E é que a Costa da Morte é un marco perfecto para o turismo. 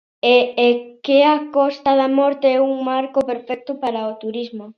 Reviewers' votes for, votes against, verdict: 2, 0, accepted